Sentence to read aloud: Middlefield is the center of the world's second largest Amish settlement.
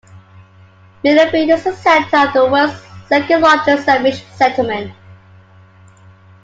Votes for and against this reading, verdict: 0, 2, rejected